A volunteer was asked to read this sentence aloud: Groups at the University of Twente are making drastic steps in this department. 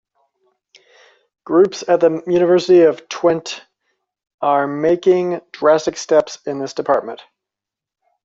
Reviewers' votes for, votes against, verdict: 2, 0, accepted